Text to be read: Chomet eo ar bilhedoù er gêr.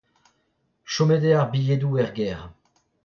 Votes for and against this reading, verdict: 0, 2, rejected